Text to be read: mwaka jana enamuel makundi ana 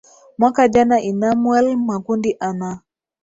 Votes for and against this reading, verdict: 4, 0, accepted